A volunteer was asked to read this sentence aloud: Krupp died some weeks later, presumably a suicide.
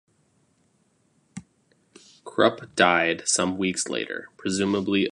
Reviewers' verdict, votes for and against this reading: rejected, 1, 2